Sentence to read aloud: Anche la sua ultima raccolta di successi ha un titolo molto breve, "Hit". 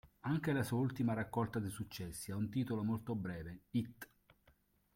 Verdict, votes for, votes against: accepted, 2, 0